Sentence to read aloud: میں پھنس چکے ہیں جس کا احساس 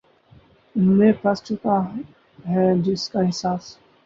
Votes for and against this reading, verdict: 2, 2, rejected